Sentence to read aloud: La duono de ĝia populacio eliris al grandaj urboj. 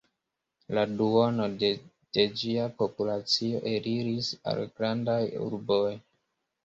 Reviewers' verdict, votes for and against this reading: rejected, 1, 2